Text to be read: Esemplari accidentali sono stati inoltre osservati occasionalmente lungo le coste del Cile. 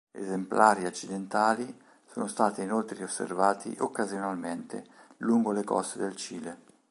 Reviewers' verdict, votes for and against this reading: accepted, 3, 0